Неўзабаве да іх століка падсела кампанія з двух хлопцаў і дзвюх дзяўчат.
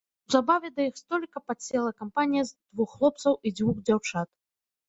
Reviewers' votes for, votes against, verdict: 0, 2, rejected